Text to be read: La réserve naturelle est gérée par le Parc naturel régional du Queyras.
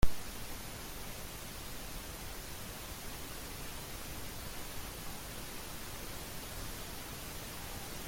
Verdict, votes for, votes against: rejected, 0, 2